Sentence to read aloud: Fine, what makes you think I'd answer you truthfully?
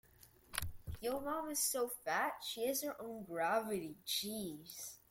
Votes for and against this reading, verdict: 0, 2, rejected